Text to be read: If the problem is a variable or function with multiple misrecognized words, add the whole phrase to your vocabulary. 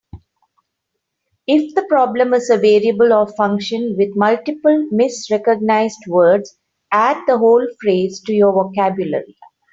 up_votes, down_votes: 3, 0